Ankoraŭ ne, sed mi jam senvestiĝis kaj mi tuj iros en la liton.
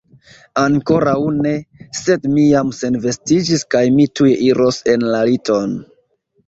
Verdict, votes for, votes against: rejected, 1, 2